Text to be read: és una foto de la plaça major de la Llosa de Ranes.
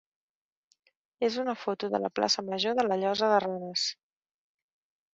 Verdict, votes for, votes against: accepted, 3, 0